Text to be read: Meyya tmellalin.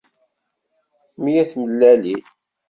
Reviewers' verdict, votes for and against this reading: accepted, 2, 0